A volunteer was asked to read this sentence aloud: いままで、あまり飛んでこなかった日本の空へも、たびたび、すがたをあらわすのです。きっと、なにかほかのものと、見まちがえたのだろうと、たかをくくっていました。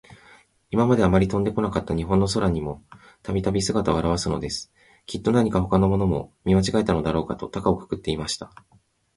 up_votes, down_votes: 0, 2